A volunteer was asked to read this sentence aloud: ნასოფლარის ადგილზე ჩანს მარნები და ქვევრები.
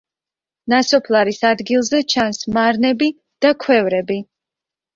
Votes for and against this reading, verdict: 2, 0, accepted